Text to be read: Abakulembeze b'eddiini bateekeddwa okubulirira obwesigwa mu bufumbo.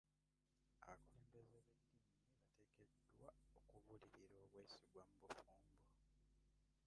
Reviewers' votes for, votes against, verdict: 0, 2, rejected